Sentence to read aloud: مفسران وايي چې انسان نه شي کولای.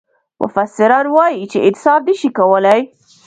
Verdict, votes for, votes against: accepted, 2, 0